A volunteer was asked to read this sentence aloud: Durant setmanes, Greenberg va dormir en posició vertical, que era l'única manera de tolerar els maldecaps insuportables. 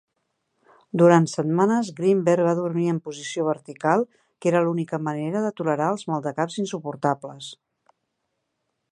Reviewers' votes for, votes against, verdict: 4, 0, accepted